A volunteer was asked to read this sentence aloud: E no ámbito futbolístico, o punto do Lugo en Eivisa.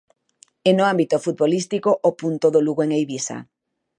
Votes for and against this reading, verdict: 2, 0, accepted